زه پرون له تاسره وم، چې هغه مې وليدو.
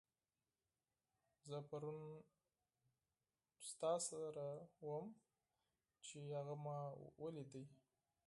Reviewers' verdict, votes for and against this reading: rejected, 2, 4